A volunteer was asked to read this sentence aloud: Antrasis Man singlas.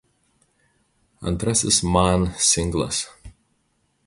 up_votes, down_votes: 2, 0